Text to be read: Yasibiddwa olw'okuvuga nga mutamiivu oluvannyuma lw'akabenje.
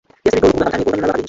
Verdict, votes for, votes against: rejected, 0, 2